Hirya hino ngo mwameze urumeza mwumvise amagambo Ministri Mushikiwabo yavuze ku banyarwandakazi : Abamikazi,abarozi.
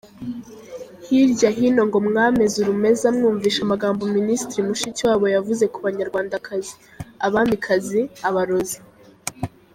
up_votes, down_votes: 0, 2